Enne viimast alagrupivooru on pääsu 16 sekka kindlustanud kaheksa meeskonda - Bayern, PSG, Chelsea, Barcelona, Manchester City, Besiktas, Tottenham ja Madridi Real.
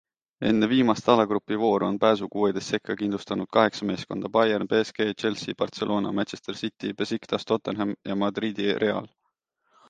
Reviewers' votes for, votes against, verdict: 0, 2, rejected